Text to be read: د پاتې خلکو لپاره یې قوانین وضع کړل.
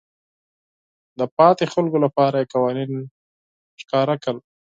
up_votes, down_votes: 4, 0